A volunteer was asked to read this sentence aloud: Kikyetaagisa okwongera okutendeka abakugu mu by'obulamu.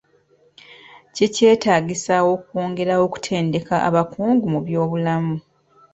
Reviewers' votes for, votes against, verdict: 2, 1, accepted